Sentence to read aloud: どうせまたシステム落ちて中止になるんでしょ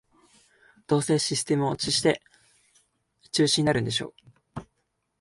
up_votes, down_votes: 0, 2